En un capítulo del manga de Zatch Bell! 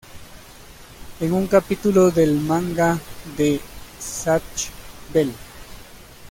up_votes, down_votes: 2, 0